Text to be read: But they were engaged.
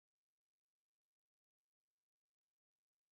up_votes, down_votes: 0, 3